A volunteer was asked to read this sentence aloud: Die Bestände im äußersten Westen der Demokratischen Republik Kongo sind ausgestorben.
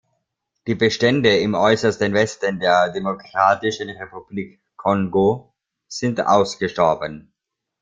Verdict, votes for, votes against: rejected, 0, 2